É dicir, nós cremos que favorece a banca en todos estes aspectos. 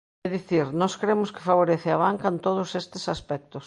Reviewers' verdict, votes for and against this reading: accepted, 2, 0